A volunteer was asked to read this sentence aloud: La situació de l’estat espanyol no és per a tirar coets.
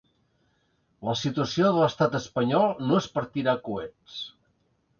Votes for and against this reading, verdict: 1, 2, rejected